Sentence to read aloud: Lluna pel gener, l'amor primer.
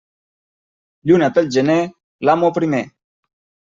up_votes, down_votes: 0, 2